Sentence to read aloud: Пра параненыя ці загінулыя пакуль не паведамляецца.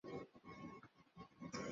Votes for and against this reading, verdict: 0, 2, rejected